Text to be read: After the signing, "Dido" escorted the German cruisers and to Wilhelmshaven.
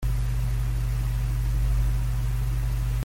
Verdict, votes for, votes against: rejected, 0, 2